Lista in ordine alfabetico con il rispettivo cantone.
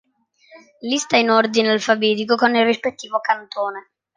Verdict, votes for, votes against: accepted, 2, 0